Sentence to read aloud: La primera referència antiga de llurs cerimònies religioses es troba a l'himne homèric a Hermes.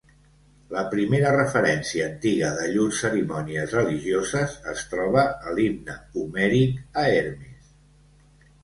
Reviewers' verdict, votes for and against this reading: accepted, 2, 0